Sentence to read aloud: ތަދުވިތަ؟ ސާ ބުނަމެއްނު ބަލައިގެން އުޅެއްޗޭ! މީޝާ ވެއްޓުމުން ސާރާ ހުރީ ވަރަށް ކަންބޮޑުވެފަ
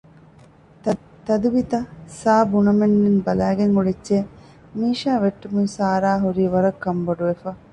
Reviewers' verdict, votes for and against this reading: rejected, 1, 2